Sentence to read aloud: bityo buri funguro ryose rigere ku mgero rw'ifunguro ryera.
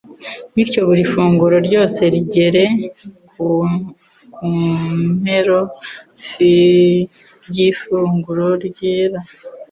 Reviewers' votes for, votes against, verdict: 1, 2, rejected